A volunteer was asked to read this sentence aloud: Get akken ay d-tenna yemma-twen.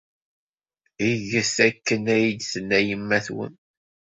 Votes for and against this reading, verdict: 2, 0, accepted